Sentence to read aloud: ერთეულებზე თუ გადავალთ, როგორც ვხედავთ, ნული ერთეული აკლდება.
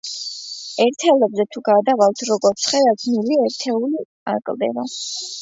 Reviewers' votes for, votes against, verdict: 0, 2, rejected